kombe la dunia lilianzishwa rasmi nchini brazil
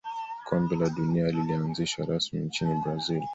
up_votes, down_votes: 2, 0